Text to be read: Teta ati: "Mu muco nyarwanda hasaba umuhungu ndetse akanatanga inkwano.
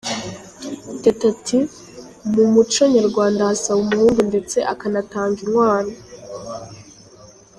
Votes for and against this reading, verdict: 2, 0, accepted